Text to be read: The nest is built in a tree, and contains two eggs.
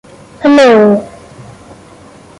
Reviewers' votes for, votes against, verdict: 0, 2, rejected